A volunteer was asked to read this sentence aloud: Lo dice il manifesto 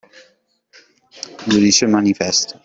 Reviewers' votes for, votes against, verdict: 2, 1, accepted